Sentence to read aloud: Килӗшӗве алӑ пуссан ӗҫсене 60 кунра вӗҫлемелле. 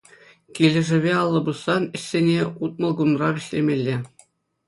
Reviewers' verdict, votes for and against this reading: rejected, 0, 2